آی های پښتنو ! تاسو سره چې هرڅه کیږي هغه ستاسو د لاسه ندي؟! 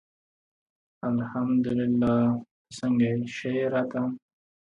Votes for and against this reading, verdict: 0, 2, rejected